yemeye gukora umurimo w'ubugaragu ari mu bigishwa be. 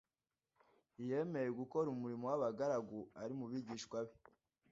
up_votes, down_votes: 0, 2